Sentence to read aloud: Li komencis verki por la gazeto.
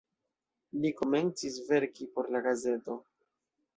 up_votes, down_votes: 2, 0